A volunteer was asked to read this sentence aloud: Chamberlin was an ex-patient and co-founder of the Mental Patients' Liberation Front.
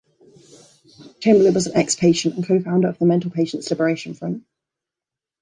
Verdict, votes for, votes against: accepted, 2, 0